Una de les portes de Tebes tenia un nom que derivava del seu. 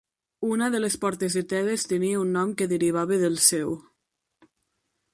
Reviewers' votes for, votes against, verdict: 4, 0, accepted